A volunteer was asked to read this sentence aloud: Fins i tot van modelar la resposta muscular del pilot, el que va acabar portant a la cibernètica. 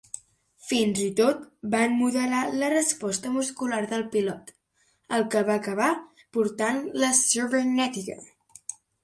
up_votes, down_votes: 1, 2